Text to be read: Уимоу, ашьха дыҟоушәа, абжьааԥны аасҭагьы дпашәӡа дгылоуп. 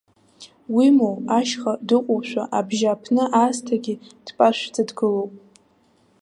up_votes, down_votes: 1, 2